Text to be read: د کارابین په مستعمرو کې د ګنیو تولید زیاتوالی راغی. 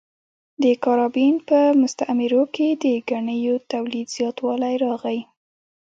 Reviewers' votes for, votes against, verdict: 1, 2, rejected